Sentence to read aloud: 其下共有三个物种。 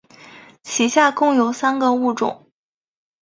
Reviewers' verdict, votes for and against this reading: rejected, 0, 2